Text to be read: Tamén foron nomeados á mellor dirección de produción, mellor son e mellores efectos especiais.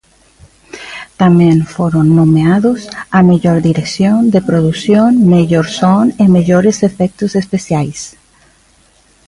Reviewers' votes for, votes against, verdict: 2, 0, accepted